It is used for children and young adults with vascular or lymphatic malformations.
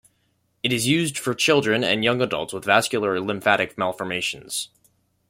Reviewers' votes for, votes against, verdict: 2, 0, accepted